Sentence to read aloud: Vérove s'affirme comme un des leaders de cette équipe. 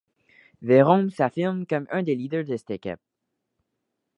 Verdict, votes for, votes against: rejected, 1, 2